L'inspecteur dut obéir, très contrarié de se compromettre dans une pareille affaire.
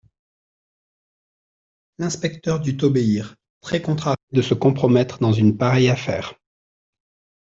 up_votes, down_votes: 1, 2